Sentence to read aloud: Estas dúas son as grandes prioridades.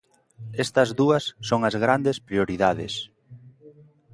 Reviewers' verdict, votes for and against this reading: accepted, 2, 0